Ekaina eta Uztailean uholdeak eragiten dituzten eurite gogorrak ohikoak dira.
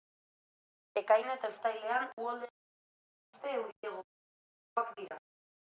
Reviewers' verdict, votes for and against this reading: rejected, 0, 2